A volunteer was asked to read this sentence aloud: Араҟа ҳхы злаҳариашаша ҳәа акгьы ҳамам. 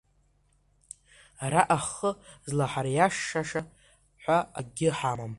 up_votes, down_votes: 0, 3